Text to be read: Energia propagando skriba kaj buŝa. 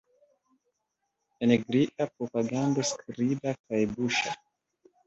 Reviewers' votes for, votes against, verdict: 2, 0, accepted